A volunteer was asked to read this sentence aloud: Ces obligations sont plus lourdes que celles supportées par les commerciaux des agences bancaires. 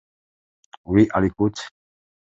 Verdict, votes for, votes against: rejected, 0, 2